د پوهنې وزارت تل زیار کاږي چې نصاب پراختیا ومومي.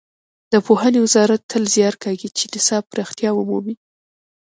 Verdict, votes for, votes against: accepted, 2, 0